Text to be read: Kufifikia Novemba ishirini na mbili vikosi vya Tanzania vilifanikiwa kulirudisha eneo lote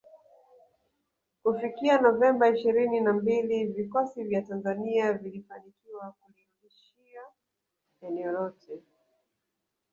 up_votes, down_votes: 0, 2